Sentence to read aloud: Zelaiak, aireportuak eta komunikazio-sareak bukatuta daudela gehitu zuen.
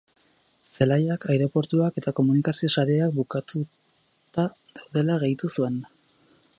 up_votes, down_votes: 4, 4